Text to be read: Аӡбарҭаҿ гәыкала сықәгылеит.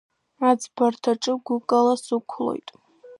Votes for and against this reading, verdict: 0, 2, rejected